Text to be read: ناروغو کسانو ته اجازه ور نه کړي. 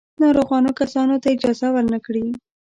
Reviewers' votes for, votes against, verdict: 1, 2, rejected